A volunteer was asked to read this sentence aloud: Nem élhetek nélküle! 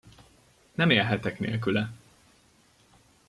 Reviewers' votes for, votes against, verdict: 2, 0, accepted